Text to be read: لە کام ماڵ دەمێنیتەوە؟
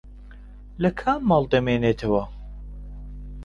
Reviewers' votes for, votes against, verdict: 1, 2, rejected